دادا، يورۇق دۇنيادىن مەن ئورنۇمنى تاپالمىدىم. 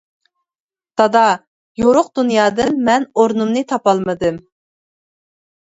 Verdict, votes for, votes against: accepted, 2, 0